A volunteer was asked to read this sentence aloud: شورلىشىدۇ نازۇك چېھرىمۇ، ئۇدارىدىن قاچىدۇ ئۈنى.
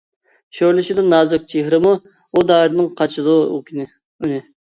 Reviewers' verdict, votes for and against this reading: rejected, 0, 2